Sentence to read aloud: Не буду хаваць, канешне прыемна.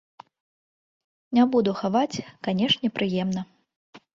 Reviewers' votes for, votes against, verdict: 3, 0, accepted